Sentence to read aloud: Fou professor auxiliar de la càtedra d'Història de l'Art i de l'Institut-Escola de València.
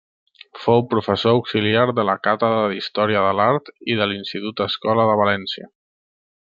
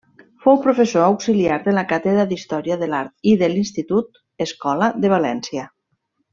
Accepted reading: first